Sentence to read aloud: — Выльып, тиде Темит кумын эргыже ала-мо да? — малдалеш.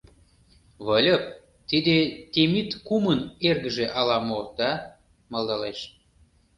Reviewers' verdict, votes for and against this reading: accepted, 2, 0